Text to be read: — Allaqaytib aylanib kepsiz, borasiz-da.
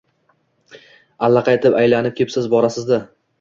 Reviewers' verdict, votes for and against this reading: accepted, 2, 0